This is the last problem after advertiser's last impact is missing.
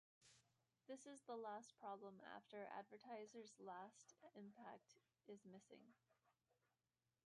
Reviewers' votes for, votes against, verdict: 0, 2, rejected